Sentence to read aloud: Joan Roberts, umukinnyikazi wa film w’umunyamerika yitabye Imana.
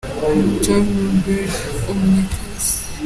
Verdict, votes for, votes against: rejected, 0, 2